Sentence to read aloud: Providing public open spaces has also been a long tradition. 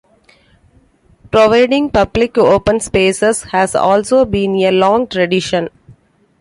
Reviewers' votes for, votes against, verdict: 2, 1, accepted